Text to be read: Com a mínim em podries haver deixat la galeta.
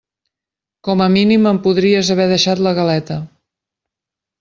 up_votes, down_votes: 3, 0